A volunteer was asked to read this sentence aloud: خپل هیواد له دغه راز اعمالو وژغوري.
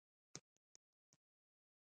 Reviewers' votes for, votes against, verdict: 0, 2, rejected